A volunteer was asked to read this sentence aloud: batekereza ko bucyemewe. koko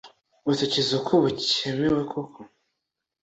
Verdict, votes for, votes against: accepted, 2, 0